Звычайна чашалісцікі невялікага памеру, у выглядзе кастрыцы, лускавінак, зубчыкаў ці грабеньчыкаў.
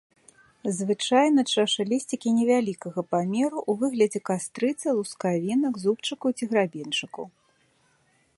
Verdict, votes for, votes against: accepted, 2, 0